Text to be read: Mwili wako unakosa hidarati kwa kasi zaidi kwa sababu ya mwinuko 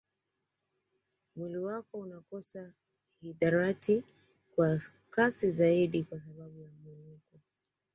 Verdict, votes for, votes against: accepted, 2, 1